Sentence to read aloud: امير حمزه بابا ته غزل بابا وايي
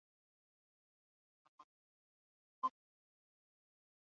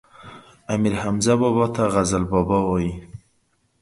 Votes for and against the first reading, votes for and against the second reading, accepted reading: 0, 2, 2, 0, second